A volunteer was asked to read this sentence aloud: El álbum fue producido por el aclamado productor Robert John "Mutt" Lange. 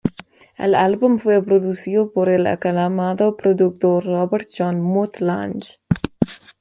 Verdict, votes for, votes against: accepted, 2, 0